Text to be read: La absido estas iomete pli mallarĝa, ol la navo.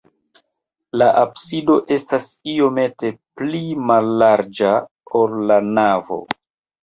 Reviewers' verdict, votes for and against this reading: rejected, 1, 2